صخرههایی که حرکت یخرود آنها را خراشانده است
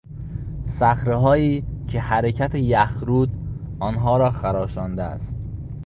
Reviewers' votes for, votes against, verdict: 2, 0, accepted